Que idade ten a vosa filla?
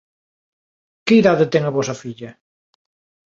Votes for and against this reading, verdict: 2, 0, accepted